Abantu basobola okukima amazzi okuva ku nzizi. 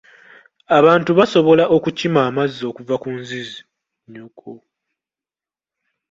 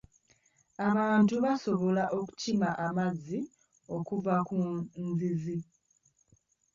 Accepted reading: first